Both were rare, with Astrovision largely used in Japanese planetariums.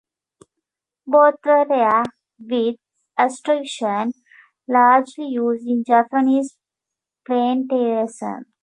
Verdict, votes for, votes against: rejected, 0, 2